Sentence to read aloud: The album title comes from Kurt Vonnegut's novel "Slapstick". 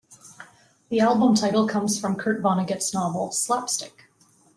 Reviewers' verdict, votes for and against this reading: accepted, 2, 0